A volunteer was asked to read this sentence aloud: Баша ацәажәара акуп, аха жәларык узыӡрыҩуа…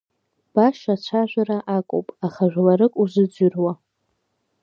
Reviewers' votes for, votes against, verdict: 2, 1, accepted